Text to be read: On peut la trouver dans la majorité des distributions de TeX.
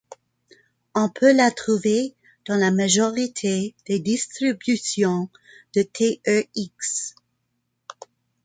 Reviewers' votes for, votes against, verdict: 1, 2, rejected